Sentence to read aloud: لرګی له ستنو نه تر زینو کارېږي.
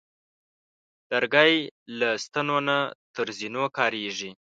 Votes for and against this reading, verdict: 5, 1, accepted